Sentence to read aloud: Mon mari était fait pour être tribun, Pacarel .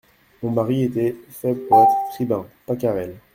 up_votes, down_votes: 0, 2